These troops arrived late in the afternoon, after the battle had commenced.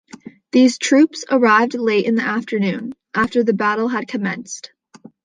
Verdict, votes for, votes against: accepted, 2, 0